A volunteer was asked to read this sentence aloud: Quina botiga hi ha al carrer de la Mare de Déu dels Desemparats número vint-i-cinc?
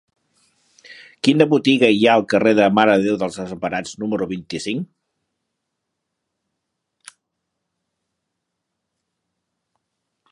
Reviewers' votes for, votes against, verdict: 0, 2, rejected